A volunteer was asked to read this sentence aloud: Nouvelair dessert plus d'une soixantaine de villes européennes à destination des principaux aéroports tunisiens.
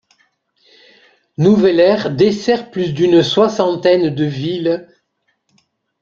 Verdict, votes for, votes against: rejected, 0, 2